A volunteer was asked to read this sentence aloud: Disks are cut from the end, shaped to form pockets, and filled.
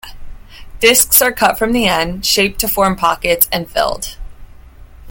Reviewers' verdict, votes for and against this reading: accepted, 2, 0